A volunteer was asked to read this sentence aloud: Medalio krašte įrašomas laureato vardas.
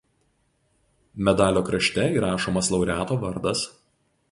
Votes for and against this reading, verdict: 2, 0, accepted